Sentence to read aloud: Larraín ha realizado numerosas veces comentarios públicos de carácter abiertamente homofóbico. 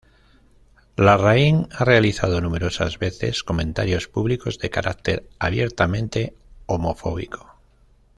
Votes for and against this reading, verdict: 2, 0, accepted